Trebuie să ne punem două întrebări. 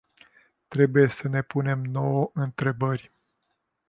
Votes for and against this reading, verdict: 0, 2, rejected